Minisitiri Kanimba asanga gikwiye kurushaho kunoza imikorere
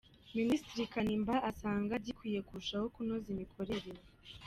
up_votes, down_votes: 2, 0